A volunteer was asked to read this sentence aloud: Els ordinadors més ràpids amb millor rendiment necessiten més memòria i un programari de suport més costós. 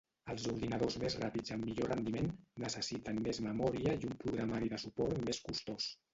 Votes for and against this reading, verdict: 1, 2, rejected